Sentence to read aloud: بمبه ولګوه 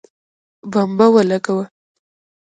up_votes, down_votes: 2, 0